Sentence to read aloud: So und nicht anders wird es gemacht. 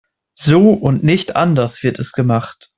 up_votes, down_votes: 2, 0